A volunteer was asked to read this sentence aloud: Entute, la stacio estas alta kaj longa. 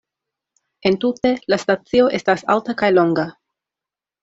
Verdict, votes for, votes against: accepted, 2, 0